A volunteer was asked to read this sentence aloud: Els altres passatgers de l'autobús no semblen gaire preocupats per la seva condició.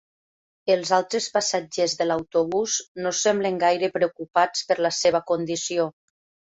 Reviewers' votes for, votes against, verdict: 3, 0, accepted